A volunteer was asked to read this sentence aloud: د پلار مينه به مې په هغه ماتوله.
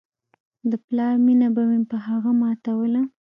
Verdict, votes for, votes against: accepted, 2, 0